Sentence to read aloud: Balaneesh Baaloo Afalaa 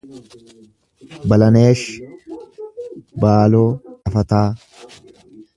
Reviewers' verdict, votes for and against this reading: rejected, 1, 2